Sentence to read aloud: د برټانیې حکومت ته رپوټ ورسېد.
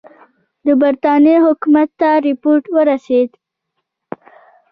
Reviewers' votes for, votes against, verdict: 0, 2, rejected